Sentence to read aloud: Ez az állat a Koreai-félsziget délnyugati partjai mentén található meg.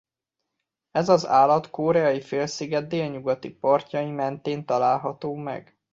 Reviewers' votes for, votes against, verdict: 0, 2, rejected